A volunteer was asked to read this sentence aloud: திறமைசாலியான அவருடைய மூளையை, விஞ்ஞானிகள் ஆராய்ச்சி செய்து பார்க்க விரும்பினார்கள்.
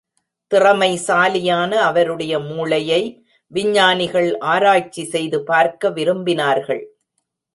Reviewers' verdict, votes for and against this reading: accepted, 2, 0